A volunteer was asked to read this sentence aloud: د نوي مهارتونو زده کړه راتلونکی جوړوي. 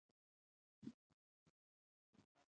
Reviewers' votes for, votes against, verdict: 0, 2, rejected